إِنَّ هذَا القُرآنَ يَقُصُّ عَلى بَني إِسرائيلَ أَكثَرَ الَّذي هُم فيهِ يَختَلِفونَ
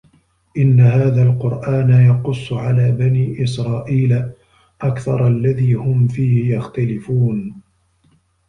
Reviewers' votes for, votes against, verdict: 2, 0, accepted